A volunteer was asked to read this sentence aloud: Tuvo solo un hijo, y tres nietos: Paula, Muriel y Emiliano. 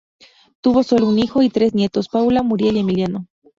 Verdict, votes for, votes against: rejected, 0, 2